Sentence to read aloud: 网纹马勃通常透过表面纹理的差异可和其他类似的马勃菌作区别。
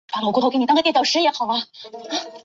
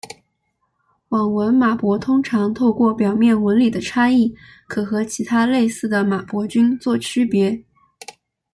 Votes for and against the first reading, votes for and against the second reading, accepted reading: 0, 2, 2, 0, second